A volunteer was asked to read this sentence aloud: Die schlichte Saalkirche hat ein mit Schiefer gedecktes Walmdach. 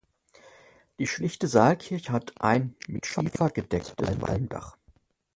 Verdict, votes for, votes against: rejected, 0, 3